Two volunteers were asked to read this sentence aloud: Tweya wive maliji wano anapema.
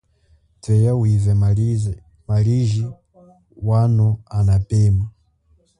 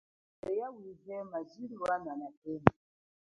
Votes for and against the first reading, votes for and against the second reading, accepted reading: 2, 0, 1, 2, first